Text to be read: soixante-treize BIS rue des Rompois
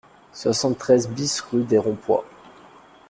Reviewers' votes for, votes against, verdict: 2, 0, accepted